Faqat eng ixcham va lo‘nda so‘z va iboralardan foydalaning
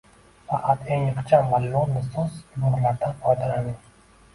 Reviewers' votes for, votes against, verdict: 2, 1, accepted